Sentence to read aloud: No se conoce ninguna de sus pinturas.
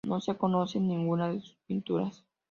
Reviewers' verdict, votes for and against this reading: accepted, 3, 1